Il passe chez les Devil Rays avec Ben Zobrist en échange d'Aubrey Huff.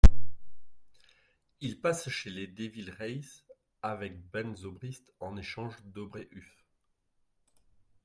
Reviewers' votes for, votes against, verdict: 1, 2, rejected